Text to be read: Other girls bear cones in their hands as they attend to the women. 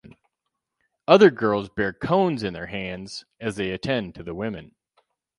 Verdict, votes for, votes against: rejected, 0, 2